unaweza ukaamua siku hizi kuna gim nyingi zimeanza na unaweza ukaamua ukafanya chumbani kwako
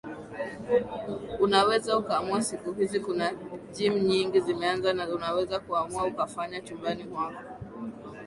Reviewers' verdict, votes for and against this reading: accepted, 2, 0